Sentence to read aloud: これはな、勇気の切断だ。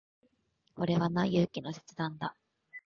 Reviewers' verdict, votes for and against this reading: rejected, 0, 2